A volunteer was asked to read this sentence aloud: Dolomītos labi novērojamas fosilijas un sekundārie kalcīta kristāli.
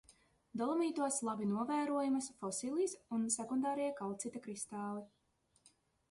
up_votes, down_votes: 2, 0